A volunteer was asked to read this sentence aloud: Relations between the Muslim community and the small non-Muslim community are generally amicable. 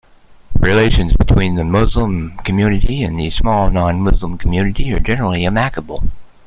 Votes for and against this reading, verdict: 2, 0, accepted